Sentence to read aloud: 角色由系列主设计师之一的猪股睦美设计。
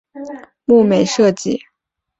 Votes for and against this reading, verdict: 0, 2, rejected